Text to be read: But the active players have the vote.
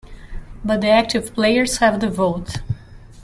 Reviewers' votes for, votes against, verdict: 2, 0, accepted